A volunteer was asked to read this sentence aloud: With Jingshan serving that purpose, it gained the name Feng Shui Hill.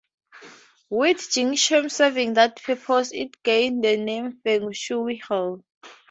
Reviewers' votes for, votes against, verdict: 2, 0, accepted